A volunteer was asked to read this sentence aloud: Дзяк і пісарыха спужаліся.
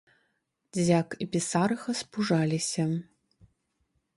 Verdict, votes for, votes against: rejected, 1, 2